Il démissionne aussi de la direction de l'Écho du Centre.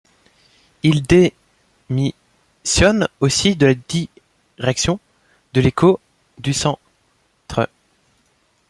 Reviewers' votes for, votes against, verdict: 2, 0, accepted